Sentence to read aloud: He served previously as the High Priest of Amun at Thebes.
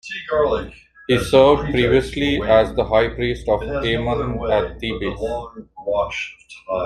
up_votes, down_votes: 2, 0